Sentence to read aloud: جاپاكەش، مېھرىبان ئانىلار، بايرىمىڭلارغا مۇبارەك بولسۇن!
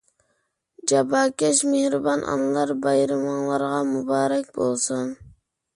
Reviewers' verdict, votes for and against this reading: accepted, 2, 0